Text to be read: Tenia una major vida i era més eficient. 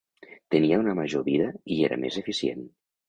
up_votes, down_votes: 2, 0